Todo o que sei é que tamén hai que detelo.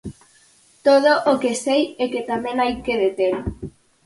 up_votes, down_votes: 4, 0